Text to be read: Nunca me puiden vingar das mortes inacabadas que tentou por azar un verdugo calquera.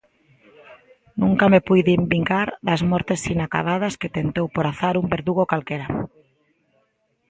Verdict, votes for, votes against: accepted, 2, 0